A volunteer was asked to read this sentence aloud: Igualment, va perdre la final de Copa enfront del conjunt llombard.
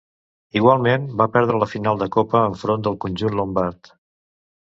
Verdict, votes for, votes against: rejected, 0, 2